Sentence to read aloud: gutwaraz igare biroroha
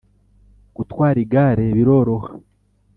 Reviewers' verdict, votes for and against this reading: accepted, 2, 0